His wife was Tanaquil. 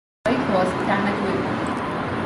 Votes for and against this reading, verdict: 0, 2, rejected